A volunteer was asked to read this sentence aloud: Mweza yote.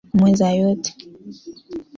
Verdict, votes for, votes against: accepted, 2, 0